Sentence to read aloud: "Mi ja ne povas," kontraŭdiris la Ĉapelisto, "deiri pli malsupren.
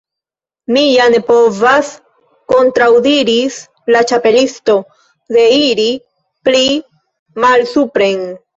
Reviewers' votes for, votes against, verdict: 1, 2, rejected